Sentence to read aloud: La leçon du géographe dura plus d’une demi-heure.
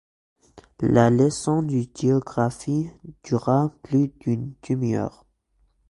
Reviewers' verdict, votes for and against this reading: rejected, 0, 2